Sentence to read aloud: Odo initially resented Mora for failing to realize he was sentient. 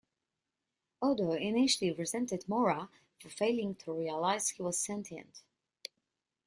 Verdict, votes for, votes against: accepted, 2, 0